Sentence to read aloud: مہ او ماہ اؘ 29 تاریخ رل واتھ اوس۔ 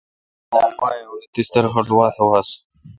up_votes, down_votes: 0, 2